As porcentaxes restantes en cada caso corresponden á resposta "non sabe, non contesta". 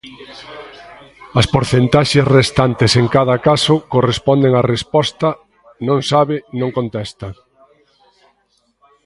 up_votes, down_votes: 1, 2